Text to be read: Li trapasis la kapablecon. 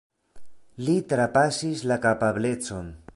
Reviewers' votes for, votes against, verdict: 2, 0, accepted